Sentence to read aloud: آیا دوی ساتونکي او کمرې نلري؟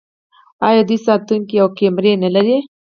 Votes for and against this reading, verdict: 4, 0, accepted